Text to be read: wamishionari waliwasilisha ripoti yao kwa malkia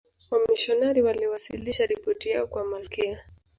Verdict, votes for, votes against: rejected, 0, 2